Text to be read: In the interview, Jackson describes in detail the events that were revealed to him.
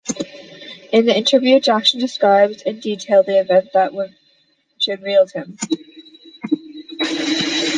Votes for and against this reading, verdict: 0, 2, rejected